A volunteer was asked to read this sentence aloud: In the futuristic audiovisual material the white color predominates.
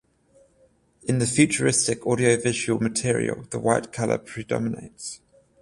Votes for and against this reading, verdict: 14, 0, accepted